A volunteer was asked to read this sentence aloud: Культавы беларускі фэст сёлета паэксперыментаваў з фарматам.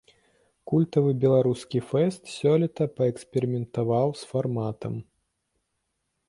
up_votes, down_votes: 2, 0